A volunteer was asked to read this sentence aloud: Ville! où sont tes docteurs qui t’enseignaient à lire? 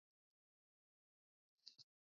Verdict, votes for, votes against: rejected, 0, 2